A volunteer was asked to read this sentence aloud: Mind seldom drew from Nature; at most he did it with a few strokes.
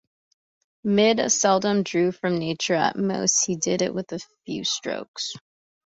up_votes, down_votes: 1, 2